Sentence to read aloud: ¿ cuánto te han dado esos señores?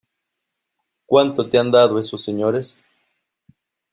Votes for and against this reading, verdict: 2, 0, accepted